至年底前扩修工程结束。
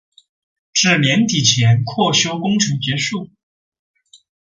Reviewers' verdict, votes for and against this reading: accepted, 3, 0